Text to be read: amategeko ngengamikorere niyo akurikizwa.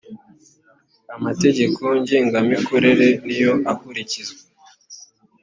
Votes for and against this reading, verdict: 3, 0, accepted